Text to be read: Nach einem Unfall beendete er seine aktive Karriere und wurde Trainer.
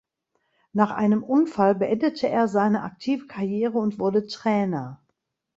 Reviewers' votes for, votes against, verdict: 2, 0, accepted